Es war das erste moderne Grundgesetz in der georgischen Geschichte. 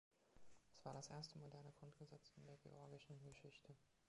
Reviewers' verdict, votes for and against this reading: rejected, 0, 2